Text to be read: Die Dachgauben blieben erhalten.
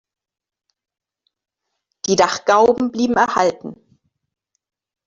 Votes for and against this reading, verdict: 2, 1, accepted